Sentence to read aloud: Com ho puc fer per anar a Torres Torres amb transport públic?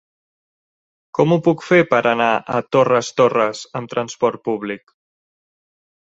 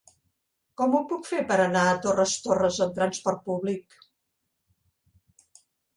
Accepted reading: second